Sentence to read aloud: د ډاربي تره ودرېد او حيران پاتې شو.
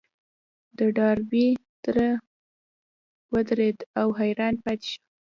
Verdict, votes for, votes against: rejected, 1, 2